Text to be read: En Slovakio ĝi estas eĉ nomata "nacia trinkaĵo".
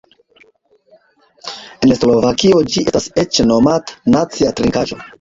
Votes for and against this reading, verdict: 0, 2, rejected